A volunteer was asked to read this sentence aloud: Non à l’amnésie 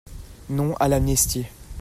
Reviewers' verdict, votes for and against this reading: rejected, 0, 2